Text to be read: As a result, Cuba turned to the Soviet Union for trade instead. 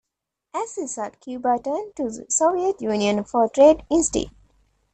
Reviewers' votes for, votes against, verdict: 1, 2, rejected